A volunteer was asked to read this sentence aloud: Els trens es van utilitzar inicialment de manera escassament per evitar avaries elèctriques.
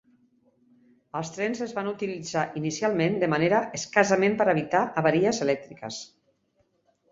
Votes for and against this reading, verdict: 2, 0, accepted